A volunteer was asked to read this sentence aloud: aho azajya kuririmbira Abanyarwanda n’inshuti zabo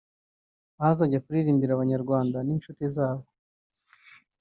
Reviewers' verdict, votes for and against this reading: accepted, 2, 0